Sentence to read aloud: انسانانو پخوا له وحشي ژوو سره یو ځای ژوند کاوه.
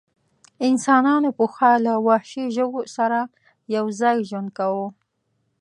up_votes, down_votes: 2, 0